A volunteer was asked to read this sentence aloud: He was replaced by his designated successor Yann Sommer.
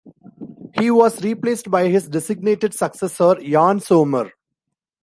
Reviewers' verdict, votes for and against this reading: accepted, 2, 1